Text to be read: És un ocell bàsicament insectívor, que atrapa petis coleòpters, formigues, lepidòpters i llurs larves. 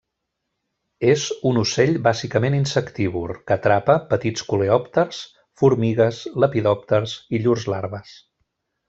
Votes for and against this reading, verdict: 0, 2, rejected